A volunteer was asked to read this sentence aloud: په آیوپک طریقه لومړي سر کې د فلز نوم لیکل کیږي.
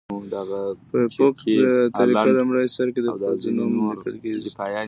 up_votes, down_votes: 0, 2